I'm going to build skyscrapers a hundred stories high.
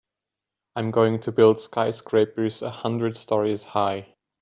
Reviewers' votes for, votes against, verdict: 2, 0, accepted